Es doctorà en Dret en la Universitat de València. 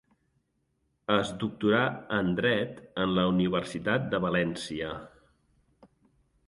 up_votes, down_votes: 2, 0